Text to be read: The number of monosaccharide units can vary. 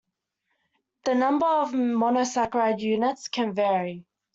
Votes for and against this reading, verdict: 2, 0, accepted